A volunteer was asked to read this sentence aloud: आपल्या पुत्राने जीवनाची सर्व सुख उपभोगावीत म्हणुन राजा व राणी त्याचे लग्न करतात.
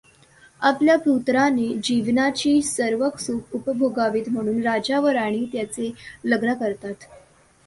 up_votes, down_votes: 2, 0